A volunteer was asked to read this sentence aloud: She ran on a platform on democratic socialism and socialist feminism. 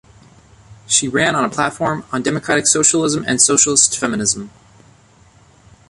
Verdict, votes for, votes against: accepted, 2, 0